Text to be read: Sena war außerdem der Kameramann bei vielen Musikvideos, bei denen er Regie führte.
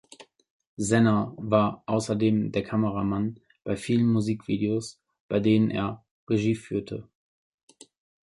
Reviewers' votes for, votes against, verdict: 3, 0, accepted